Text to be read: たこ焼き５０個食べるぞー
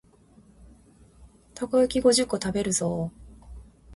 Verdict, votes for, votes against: rejected, 0, 2